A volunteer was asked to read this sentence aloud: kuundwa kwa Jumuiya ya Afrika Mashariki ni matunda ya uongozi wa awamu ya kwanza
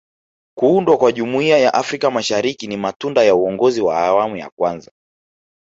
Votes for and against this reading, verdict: 0, 2, rejected